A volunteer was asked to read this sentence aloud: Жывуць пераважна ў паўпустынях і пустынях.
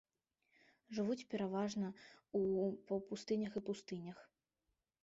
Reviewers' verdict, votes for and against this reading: rejected, 0, 2